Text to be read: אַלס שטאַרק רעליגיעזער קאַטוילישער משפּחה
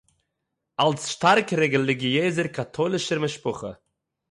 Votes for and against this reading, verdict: 3, 6, rejected